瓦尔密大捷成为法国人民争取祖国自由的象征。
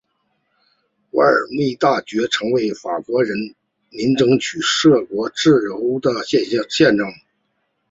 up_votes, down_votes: 1, 2